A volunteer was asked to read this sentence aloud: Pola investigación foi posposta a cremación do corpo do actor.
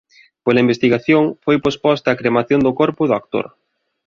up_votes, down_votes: 2, 0